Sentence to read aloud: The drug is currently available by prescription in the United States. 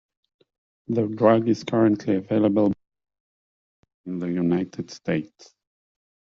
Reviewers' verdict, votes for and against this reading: rejected, 0, 2